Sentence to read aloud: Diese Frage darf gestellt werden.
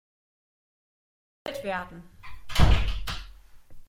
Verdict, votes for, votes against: rejected, 0, 2